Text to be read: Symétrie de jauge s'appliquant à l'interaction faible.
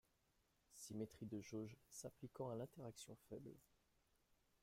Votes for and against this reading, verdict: 1, 2, rejected